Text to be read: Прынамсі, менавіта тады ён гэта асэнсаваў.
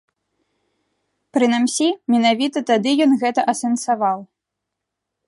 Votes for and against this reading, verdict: 0, 2, rejected